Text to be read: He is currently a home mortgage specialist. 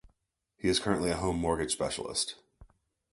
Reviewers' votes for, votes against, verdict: 2, 0, accepted